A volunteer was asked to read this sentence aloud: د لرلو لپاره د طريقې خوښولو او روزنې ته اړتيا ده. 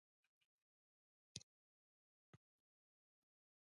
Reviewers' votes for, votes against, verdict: 1, 2, rejected